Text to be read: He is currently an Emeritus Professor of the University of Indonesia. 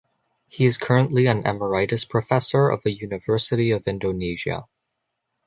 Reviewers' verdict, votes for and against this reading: accepted, 2, 0